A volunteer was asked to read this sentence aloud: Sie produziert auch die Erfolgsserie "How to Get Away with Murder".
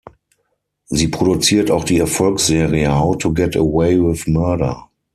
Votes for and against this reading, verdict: 6, 0, accepted